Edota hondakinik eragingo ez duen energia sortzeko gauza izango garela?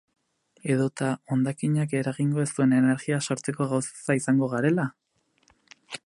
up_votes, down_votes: 4, 2